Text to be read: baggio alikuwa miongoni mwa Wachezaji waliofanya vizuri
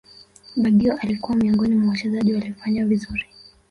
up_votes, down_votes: 3, 0